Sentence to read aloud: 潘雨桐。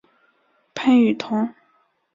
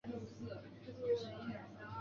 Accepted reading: first